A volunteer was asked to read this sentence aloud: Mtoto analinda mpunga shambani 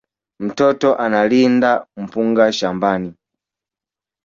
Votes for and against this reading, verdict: 4, 2, accepted